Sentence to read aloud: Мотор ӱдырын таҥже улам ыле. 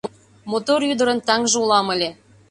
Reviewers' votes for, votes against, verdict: 2, 0, accepted